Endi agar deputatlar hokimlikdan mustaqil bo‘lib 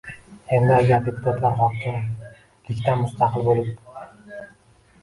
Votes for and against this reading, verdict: 0, 2, rejected